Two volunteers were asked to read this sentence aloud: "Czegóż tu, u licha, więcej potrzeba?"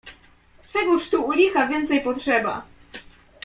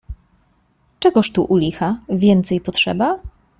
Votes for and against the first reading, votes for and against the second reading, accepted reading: 2, 0, 1, 2, first